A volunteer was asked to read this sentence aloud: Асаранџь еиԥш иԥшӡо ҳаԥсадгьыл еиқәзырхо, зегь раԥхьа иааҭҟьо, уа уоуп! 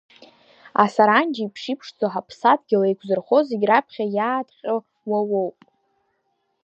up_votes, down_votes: 2, 0